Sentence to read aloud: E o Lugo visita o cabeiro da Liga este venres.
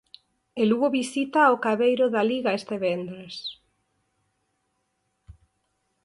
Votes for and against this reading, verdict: 0, 4, rejected